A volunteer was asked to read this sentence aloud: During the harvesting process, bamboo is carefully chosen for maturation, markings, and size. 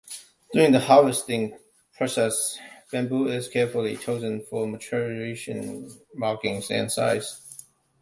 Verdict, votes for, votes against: accepted, 2, 1